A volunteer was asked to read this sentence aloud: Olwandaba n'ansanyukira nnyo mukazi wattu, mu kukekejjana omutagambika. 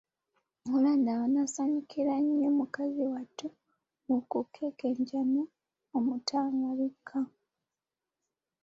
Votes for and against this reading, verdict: 0, 2, rejected